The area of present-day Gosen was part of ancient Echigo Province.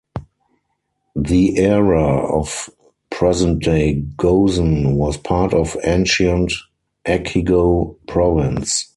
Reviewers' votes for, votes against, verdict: 0, 4, rejected